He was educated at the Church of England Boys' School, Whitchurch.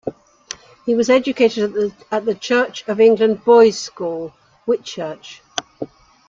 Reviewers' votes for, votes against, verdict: 1, 2, rejected